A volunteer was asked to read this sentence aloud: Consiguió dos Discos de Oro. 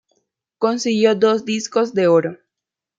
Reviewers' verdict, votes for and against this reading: rejected, 1, 2